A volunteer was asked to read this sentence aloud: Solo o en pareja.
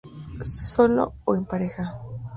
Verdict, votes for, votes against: accepted, 2, 0